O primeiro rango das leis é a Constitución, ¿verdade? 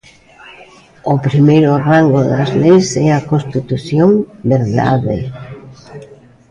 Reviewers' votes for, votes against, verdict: 1, 2, rejected